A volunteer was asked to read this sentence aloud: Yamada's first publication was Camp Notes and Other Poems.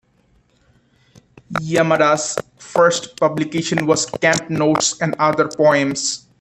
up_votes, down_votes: 2, 0